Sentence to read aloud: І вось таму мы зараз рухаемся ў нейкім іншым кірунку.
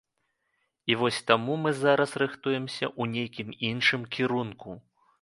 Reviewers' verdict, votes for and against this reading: rejected, 0, 2